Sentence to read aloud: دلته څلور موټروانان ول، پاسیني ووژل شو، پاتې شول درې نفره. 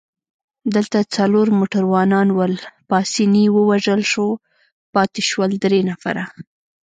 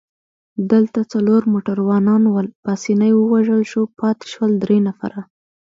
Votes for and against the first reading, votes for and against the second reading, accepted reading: 1, 2, 2, 0, second